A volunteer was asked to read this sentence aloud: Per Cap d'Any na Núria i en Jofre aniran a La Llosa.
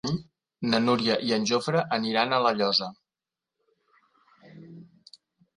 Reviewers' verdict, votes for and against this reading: rejected, 0, 2